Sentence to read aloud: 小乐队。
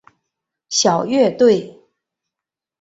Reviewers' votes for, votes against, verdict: 4, 1, accepted